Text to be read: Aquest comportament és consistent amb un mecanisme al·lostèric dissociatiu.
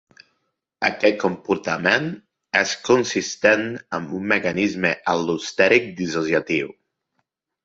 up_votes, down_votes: 2, 0